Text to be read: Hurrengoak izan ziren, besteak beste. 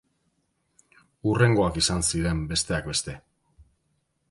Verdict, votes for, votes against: accepted, 2, 0